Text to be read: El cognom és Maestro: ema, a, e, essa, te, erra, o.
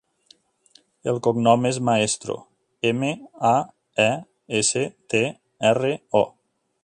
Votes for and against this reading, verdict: 3, 4, rejected